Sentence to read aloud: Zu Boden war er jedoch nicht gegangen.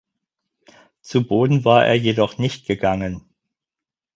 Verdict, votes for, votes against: accepted, 4, 0